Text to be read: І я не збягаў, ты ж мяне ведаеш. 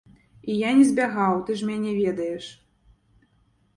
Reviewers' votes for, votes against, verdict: 2, 0, accepted